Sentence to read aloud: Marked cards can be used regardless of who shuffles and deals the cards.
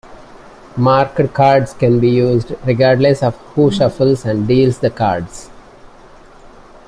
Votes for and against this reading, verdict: 0, 2, rejected